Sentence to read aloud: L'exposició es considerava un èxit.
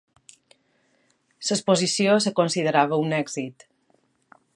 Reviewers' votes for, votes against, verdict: 1, 3, rejected